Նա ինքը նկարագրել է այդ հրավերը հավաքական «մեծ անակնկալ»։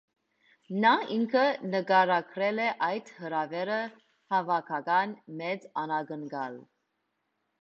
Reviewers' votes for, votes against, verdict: 2, 0, accepted